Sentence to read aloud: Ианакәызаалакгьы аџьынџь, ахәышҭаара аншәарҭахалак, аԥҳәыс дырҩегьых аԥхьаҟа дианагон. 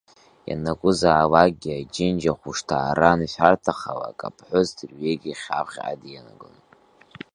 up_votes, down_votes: 1, 2